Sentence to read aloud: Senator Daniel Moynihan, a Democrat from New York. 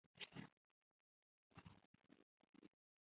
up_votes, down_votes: 0, 2